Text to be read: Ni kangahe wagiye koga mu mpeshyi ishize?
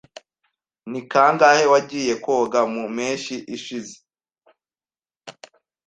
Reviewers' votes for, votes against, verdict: 2, 0, accepted